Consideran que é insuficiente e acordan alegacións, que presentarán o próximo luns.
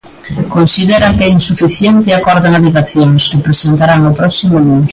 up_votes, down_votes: 2, 0